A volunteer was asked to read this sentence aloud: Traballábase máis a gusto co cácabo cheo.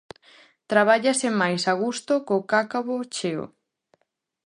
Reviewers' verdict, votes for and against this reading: rejected, 0, 2